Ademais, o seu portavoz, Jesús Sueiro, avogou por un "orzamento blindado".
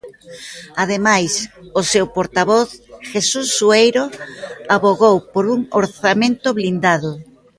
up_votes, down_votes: 1, 2